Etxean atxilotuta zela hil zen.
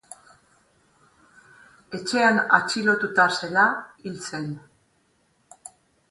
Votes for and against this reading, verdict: 4, 0, accepted